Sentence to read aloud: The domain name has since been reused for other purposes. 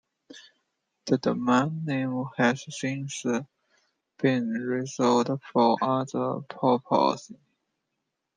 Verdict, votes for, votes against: rejected, 0, 2